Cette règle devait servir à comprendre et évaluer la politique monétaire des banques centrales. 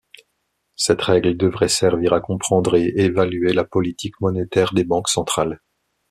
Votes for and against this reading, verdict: 1, 2, rejected